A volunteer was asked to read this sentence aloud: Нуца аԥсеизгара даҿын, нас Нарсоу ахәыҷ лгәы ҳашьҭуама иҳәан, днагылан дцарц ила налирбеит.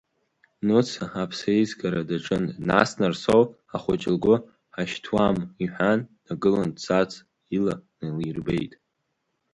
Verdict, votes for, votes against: accepted, 2, 0